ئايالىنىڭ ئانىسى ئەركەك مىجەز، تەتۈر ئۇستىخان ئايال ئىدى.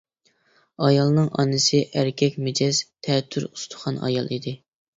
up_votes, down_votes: 2, 0